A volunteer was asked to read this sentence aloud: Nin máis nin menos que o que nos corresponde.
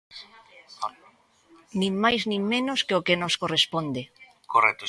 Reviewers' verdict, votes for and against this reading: rejected, 1, 3